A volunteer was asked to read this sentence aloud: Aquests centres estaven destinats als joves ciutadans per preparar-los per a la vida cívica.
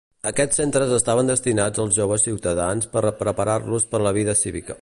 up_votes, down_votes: 1, 2